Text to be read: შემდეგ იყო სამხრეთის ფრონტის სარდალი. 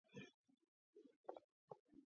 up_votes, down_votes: 0, 2